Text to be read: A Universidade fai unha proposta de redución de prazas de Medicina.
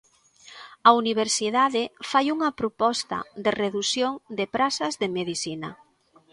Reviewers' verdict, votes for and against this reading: accepted, 2, 1